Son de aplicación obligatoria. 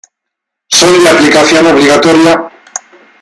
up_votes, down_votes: 2, 0